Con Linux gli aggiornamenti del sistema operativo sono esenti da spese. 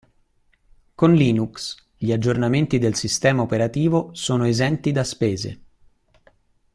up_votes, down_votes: 2, 0